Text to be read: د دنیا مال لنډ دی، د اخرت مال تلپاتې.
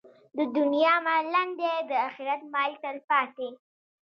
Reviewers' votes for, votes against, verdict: 2, 0, accepted